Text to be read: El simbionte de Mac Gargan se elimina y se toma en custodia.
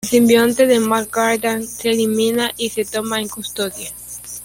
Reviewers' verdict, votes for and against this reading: rejected, 1, 2